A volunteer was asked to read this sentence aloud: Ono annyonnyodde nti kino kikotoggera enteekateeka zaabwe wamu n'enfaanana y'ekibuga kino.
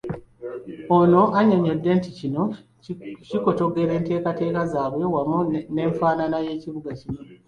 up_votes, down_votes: 2, 1